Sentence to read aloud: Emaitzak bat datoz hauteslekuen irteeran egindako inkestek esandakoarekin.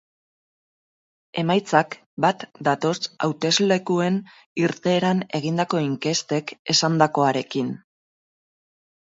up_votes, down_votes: 2, 2